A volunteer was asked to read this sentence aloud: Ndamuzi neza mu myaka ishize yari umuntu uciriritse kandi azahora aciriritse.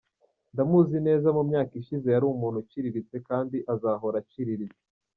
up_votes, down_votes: 2, 0